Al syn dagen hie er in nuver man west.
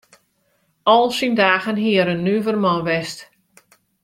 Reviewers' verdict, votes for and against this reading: accepted, 2, 1